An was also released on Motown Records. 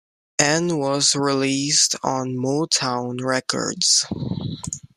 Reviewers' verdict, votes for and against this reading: rejected, 1, 2